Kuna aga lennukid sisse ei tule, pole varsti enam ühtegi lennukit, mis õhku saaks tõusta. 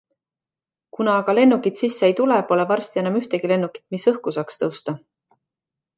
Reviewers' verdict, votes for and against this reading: accepted, 2, 0